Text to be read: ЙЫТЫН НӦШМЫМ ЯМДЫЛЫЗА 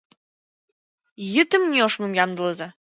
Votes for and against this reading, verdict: 0, 2, rejected